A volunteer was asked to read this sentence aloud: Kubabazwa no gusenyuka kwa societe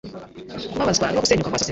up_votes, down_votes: 1, 2